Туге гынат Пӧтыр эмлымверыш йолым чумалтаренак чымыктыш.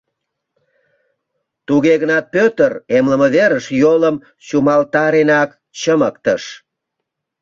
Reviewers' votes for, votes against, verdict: 0, 2, rejected